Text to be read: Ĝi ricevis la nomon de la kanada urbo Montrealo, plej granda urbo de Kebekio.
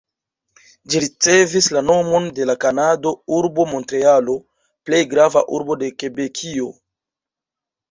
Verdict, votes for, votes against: rejected, 0, 2